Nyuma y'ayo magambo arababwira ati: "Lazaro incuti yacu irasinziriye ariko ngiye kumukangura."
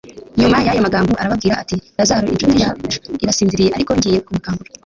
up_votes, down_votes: 2, 0